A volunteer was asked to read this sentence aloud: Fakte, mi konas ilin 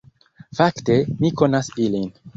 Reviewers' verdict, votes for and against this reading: accepted, 2, 1